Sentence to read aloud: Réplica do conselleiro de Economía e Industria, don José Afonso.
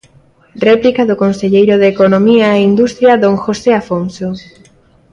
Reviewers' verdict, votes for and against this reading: accepted, 2, 0